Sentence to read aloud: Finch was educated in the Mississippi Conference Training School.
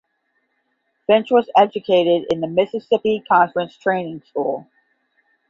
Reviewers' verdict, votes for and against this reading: accepted, 10, 0